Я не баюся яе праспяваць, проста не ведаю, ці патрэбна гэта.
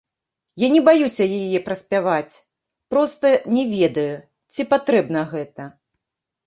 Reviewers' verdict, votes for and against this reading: rejected, 1, 2